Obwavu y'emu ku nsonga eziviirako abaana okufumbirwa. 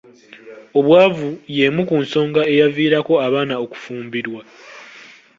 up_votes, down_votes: 0, 2